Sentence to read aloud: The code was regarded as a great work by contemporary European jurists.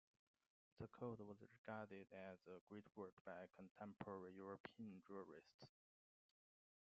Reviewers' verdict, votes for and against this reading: rejected, 1, 2